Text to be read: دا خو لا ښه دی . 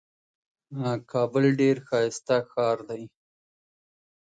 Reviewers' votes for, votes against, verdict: 0, 2, rejected